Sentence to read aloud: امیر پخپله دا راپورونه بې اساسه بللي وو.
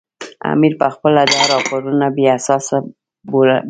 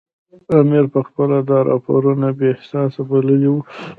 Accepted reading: second